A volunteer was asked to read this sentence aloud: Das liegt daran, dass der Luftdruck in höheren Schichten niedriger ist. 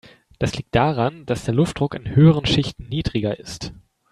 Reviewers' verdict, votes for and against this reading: accepted, 3, 0